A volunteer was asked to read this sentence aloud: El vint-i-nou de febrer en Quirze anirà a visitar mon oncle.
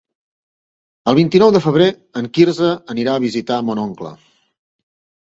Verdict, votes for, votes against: accepted, 2, 0